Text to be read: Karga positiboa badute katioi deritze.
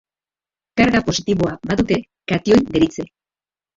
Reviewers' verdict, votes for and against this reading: rejected, 0, 2